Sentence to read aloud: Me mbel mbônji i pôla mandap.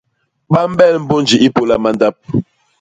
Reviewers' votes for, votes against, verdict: 0, 2, rejected